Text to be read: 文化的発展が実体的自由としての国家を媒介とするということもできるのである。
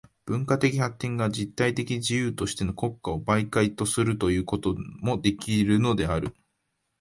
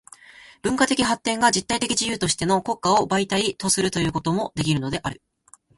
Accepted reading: second